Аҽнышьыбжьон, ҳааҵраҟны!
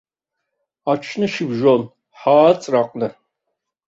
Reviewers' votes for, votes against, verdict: 2, 0, accepted